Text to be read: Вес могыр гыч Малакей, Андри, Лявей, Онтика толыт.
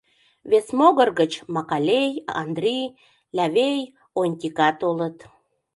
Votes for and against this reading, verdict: 0, 2, rejected